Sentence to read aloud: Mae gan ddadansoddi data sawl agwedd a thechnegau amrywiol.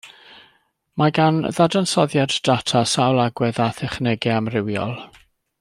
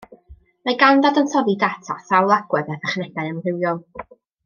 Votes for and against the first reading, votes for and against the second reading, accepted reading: 1, 2, 2, 0, second